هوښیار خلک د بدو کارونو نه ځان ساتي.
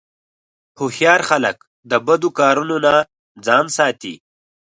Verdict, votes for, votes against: accepted, 4, 0